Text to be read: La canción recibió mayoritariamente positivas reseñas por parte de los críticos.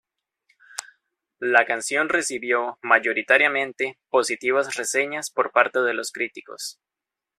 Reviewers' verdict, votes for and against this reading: accepted, 2, 0